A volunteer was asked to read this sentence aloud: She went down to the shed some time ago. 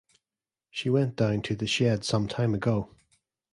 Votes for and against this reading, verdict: 2, 0, accepted